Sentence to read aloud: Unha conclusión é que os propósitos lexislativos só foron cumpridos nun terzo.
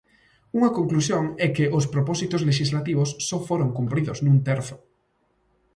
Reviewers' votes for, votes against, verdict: 2, 0, accepted